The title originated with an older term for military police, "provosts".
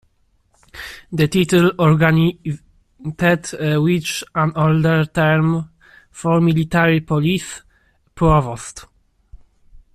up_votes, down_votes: 0, 2